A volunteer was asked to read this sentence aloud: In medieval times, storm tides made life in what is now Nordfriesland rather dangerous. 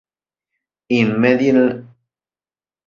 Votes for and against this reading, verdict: 0, 2, rejected